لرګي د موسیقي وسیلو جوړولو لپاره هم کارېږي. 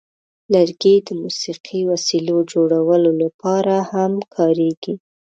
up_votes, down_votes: 3, 0